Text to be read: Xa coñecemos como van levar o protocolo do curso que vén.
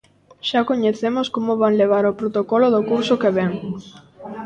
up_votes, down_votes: 1, 2